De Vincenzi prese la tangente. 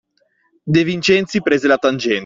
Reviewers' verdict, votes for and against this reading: rejected, 0, 2